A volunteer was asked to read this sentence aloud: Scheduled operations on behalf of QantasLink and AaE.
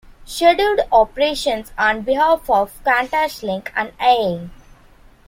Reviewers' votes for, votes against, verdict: 2, 0, accepted